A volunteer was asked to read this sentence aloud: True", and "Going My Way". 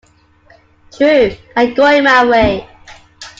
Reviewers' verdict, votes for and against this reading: accepted, 2, 0